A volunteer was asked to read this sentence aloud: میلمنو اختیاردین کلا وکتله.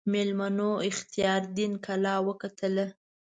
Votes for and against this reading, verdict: 2, 1, accepted